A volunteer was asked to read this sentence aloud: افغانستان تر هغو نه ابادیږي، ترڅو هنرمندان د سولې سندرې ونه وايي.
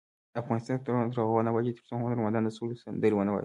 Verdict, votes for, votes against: rejected, 1, 2